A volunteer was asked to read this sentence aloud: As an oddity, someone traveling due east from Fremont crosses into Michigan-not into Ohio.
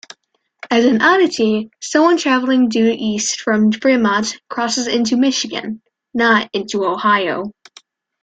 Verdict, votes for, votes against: rejected, 1, 2